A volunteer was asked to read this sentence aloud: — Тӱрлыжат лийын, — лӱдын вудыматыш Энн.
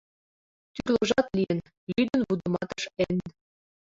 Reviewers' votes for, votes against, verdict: 1, 2, rejected